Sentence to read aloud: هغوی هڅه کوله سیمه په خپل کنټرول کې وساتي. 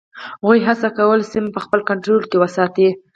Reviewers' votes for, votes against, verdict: 2, 4, rejected